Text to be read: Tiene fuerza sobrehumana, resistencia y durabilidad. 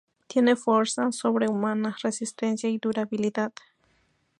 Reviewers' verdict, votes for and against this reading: rejected, 0, 2